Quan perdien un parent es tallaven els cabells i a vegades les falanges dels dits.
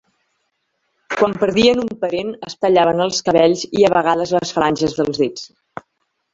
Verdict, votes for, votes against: accepted, 2, 0